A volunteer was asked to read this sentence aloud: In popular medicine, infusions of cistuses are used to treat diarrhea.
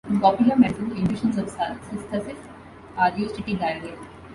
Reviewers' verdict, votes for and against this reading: rejected, 1, 2